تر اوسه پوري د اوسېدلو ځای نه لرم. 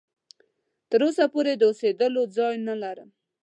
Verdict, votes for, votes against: accepted, 2, 0